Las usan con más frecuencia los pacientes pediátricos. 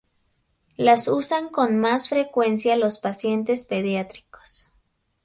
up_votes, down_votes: 2, 0